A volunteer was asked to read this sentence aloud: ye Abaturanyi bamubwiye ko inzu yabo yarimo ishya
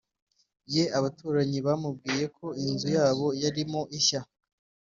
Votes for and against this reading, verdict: 2, 0, accepted